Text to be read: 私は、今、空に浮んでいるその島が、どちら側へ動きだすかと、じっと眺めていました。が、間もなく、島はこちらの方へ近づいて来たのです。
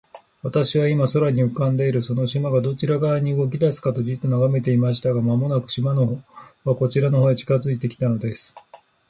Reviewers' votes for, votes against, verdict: 0, 2, rejected